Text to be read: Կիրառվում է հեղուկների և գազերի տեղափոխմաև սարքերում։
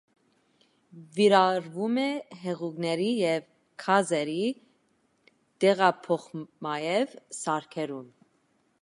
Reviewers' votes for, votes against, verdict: 1, 2, rejected